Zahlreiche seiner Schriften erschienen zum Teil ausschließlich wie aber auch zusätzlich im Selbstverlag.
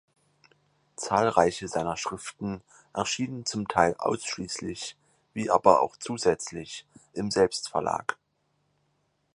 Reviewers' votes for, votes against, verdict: 4, 0, accepted